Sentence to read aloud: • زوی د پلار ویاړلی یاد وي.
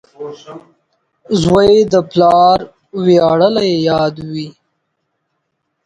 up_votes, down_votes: 2, 4